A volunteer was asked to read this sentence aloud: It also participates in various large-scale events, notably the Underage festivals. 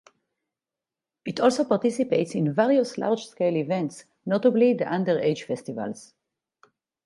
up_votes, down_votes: 4, 0